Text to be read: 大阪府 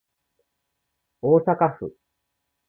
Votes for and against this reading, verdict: 2, 0, accepted